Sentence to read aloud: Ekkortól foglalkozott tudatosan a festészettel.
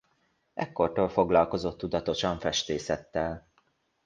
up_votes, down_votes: 0, 2